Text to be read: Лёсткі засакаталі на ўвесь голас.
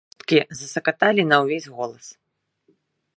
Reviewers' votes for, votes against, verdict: 0, 2, rejected